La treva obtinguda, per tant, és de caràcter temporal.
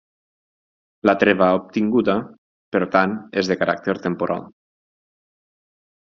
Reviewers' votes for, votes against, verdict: 6, 0, accepted